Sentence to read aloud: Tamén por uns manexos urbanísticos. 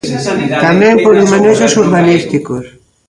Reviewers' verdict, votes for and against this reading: rejected, 0, 2